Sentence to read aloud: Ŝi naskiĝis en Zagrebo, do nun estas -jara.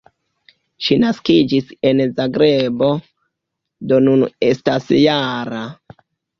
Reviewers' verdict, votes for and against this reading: rejected, 0, 2